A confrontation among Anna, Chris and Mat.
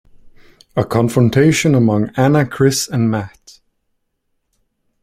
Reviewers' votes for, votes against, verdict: 2, 0, accepted